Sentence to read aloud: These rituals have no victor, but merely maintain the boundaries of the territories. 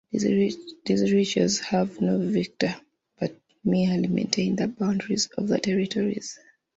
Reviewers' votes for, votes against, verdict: 0, 2, rejected